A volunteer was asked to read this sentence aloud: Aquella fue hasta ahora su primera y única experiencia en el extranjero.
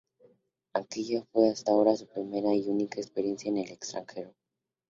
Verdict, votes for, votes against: accepted, 2, 0